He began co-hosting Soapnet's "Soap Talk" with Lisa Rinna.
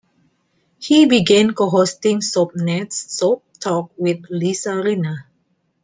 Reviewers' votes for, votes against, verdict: 2, 0, accepted